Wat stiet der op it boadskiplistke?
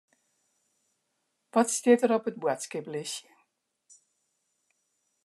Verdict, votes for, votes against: rejected, 1, 2